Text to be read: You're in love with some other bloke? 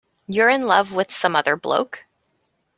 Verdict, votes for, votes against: accepted, 2, 0